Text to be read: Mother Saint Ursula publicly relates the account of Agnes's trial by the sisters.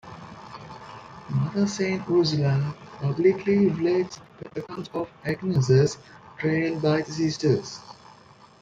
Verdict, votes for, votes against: accepted, 2, 0